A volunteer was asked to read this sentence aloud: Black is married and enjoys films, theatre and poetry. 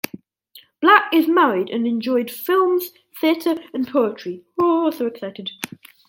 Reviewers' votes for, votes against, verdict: 0, 2, rejected